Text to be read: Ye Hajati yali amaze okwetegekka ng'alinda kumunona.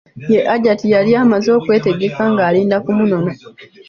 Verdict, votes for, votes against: accepted, 2, 1